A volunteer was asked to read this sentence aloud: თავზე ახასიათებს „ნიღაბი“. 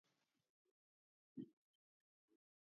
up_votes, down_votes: 2, 0